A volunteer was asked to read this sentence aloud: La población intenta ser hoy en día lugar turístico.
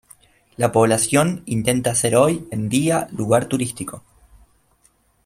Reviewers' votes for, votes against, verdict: 3, 0, accepted